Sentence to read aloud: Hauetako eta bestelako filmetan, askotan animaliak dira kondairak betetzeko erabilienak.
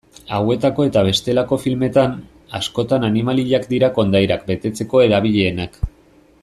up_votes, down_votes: 2, 0